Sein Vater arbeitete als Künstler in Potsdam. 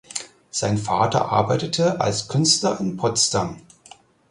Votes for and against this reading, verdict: 4, 0, accepted